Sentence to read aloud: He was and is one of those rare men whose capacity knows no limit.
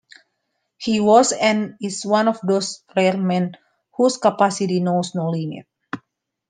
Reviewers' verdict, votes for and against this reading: accepted, 2, 0